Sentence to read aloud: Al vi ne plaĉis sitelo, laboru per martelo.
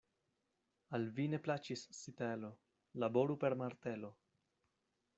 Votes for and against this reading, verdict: 1, 2, rejected